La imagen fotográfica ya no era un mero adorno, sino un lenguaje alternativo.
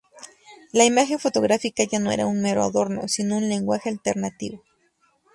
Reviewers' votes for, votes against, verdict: 2, 0, accepted